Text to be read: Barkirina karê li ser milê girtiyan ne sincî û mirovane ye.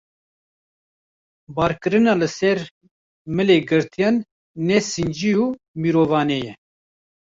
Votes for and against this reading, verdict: 0, 2, rejected